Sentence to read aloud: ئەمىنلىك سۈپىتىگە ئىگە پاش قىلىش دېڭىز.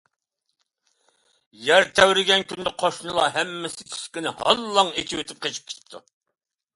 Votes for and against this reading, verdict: 0, 2, rejected